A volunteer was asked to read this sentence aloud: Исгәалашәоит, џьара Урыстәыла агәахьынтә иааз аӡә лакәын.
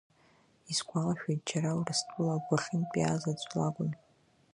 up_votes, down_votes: 1, 2